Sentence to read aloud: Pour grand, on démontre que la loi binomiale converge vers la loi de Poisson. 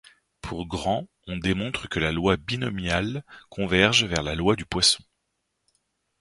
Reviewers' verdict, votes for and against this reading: rejected, 0, 2